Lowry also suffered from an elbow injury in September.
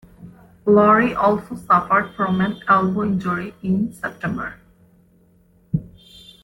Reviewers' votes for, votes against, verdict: 2, 0, accepted